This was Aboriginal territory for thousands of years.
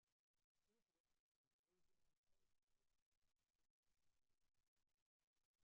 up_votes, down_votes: 0, 2